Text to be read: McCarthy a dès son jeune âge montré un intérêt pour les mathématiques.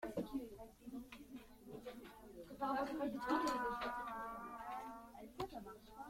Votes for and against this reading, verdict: 1, 2, rejected